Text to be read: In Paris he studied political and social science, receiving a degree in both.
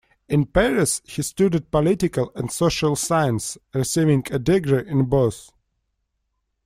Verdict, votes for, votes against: accepted, 2, 0